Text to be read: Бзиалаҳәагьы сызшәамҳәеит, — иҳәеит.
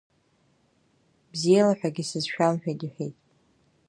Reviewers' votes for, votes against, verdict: 0, 2, rejected